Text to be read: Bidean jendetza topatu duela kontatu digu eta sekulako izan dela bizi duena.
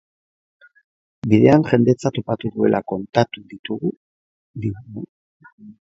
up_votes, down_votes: 0, 3